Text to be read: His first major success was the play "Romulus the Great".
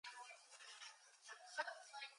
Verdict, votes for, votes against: rejected, 0, 2